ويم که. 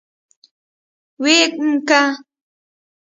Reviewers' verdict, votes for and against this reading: accepted, 2, 0